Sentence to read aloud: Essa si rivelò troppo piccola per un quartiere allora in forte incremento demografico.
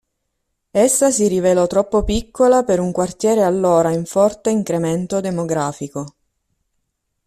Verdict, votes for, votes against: accepted, 3, 1